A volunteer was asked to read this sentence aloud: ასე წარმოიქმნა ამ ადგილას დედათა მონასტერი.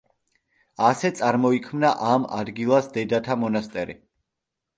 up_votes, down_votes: 2, 0